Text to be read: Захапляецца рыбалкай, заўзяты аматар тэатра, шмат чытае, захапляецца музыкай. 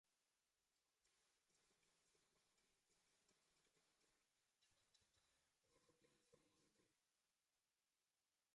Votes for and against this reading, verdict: 0, 2, rejected